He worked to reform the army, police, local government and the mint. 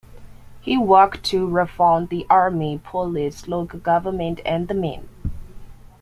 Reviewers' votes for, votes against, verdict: 0, 2, rejected